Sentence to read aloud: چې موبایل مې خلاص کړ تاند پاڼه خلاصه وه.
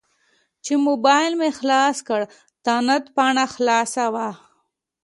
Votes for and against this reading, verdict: 2, 0, accepted